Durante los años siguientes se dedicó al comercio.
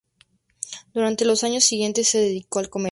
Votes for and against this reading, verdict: 0, 2, rejected